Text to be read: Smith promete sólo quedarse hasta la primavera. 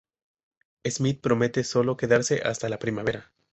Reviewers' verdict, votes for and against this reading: accepted, 2, 0